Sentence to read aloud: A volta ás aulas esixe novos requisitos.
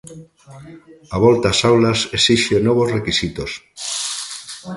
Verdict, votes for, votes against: accepted, 2, 0